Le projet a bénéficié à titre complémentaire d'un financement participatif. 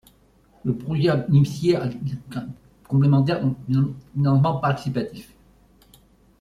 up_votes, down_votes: 0, 2